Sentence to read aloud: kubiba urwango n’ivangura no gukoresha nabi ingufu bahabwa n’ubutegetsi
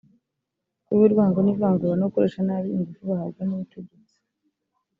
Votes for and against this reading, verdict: 1, 2, rejected